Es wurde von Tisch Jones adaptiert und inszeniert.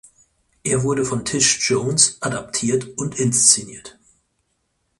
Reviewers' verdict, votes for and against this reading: rejected, 0, 6